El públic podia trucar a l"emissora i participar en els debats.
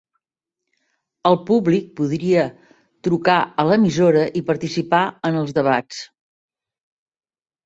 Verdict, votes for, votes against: rejected, 1, 2